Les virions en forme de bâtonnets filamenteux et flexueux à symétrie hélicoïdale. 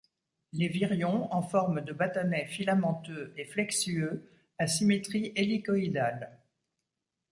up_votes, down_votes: 2, 0